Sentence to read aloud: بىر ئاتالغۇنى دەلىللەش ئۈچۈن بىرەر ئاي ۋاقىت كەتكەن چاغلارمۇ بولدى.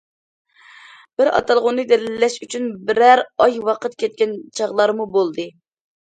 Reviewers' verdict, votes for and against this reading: accepted, 2, 0